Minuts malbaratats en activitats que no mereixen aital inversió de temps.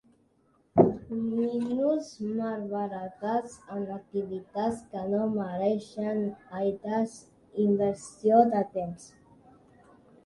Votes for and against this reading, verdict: 1, 2, rejected